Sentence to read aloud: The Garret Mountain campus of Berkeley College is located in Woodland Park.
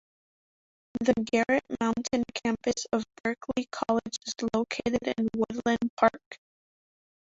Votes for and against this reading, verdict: 1, 2, rejected